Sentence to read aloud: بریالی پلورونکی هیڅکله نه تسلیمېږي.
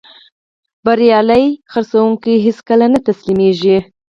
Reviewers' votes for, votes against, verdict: 2, 4, rejected